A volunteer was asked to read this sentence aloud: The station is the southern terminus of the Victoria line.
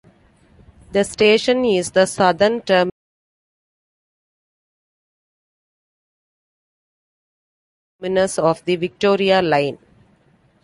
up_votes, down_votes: 0, 2